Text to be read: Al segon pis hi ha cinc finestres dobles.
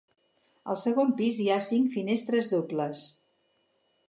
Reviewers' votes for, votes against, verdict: 6, 0, accepted